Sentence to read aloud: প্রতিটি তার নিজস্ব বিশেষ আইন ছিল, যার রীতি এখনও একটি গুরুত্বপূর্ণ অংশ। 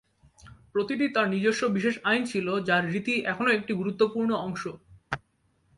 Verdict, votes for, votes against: accepted, 2, 0